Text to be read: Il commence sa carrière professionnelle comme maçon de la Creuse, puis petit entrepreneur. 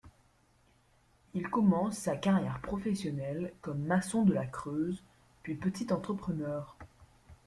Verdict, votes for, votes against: accepted, 2, 0